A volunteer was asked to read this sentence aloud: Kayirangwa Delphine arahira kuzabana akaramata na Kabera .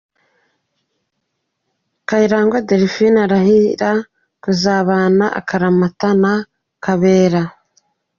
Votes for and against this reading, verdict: 2, 0, accepted